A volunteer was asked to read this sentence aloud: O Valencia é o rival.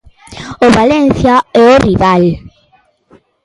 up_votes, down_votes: 3, 0